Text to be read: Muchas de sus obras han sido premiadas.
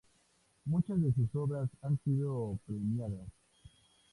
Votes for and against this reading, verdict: 2, 0, accepted